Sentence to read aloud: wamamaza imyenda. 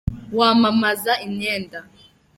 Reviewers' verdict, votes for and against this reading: accepted, 2, 0